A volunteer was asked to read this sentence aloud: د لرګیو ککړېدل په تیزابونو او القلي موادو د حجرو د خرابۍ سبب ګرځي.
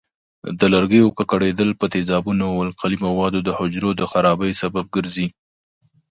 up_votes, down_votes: 2, 0